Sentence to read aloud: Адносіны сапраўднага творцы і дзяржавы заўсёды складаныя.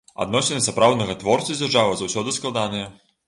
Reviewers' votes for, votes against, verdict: 1, 2, rejected